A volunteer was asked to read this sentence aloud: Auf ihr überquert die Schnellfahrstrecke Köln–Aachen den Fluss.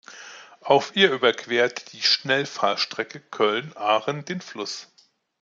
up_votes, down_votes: 2, 0